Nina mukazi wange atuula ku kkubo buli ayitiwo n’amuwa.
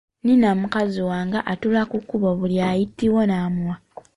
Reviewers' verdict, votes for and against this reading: rejected, 0, 3